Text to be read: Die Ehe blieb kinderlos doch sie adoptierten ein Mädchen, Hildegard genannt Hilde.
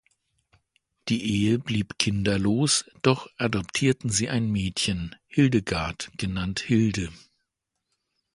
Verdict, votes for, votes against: rejected, 1, 2